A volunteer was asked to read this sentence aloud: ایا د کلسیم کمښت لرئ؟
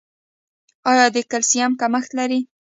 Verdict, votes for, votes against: accepted, 2, 0